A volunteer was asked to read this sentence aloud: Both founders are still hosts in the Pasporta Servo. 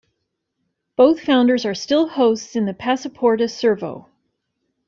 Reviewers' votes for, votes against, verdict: 2, 0, accepted